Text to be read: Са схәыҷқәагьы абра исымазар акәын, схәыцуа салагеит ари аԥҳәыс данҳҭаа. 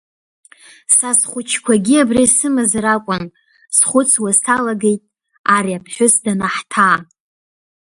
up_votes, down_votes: 0, 2